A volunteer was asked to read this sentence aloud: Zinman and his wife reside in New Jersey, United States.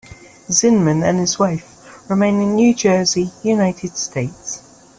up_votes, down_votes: 0, 2